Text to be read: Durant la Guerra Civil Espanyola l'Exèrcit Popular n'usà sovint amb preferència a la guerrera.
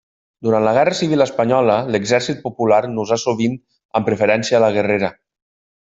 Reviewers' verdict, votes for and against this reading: accepted, 2, 0